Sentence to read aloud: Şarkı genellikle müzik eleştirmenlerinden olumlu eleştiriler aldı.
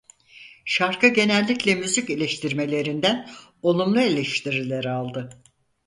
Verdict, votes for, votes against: rejected, 0, 4